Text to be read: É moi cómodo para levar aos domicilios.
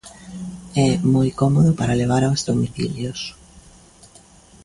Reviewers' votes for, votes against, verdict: 2, 0, accepted